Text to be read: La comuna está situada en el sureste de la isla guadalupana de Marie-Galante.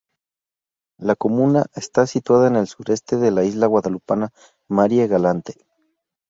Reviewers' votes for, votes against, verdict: 2, 0, accepted